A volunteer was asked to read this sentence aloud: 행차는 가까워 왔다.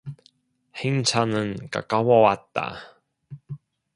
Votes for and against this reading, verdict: 2, 1, accepted